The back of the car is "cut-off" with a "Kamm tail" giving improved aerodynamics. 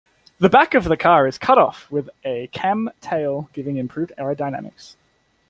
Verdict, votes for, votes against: accepted, 2, 0